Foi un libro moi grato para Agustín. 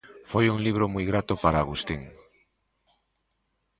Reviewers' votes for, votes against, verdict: 2, 0, accepted